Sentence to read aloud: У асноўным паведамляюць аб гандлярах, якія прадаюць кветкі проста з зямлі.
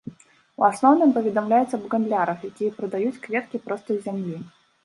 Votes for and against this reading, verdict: 1, 2, rejected